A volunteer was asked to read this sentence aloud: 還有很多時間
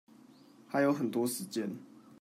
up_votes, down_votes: 0, 2